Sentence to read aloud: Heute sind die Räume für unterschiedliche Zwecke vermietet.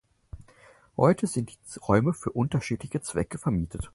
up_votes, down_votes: 0, 4